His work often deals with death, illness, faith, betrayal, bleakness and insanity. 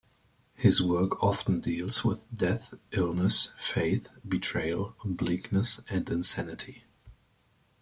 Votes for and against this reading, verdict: 2, 1, accepted